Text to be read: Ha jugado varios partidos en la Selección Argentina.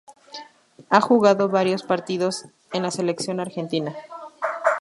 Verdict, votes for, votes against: accepted, 2, 0